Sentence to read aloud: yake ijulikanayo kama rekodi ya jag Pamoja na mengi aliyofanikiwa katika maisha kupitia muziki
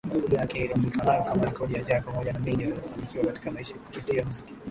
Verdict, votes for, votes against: rejected, 3, 3